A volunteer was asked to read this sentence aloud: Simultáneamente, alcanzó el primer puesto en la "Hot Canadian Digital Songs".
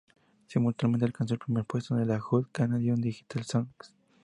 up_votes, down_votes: 0, 2